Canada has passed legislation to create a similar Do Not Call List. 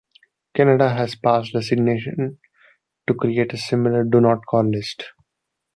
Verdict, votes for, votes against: accepted, 2, 1